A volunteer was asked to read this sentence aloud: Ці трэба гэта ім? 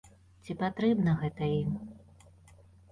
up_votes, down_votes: 0, 2